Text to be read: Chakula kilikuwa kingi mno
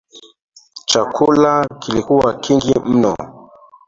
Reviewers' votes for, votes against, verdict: 3, 0, accepted